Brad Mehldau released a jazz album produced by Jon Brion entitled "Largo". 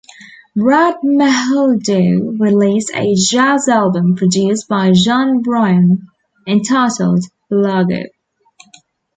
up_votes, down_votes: 1, 2